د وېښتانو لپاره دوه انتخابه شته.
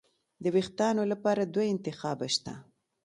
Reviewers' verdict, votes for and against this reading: accepted, 2, 1